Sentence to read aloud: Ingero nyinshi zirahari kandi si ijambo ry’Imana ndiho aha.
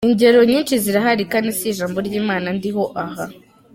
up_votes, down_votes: 3, 0